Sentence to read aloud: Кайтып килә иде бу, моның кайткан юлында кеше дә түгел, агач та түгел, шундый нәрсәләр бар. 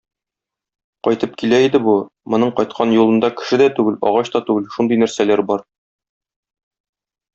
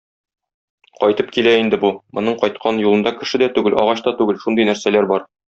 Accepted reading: first